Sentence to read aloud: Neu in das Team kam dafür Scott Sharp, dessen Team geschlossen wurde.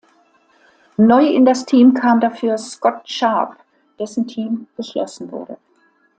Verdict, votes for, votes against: accepted, 2, 0